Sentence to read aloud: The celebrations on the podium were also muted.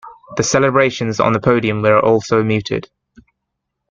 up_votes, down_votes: 2, 0